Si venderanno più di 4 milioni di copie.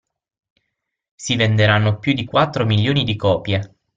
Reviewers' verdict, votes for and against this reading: rejected, 0, 2